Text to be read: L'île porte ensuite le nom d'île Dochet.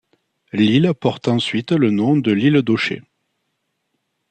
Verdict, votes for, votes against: accepted, 2, 1